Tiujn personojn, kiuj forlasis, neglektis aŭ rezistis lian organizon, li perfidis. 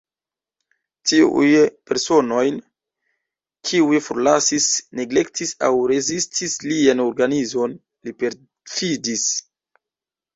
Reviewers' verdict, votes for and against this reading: rejected, 1, 2